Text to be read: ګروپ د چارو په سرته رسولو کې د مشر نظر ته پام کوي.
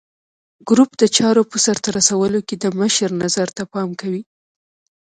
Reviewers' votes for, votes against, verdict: 2, 1, accepted